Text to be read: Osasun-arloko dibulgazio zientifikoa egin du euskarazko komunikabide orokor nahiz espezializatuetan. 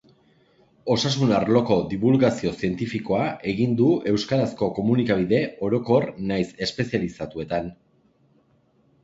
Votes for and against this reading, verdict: 2, 0, accepted